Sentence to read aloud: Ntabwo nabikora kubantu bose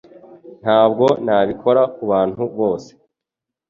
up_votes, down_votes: 2, 0